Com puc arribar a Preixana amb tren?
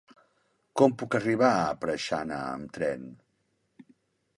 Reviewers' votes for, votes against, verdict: 3, 1, accepted